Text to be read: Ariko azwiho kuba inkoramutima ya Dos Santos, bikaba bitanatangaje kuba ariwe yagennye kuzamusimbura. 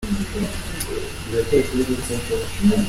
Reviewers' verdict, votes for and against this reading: rejected, 0, 2